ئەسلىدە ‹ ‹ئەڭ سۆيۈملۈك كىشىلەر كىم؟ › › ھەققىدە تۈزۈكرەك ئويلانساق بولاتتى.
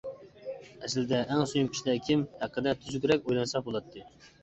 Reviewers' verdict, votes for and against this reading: rejected, 1, 2